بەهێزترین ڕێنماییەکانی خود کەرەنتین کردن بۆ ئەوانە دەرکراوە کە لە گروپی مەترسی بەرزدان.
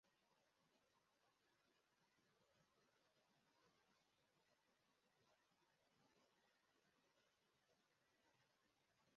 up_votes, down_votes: 0, 2